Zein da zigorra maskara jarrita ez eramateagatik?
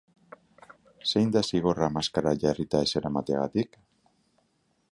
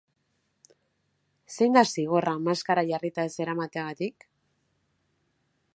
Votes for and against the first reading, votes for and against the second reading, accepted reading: 3, 3, 2, 0, second